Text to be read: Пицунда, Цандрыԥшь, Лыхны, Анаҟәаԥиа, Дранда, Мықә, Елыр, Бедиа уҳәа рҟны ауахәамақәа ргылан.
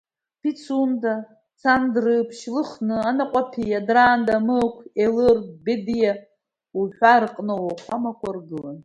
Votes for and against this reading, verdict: 2, 1, accepted